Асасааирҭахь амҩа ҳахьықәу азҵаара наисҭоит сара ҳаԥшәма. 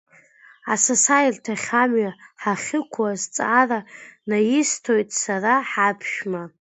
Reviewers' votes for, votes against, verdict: 2, 0, accepted